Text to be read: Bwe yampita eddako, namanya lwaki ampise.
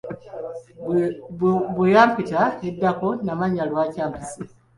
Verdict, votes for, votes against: accepted, 2, 0